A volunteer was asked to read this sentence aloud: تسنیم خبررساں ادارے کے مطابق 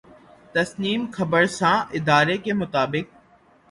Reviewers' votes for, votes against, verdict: 3, 0, accepted